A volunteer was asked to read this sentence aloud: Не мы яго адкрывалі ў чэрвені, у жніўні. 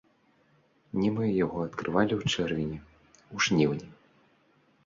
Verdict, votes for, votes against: rejected, 0, 2